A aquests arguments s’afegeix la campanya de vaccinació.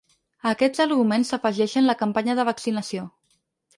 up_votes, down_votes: 2, 4